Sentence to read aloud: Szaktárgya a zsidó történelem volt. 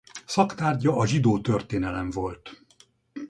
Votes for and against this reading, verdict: 2, 2, rejected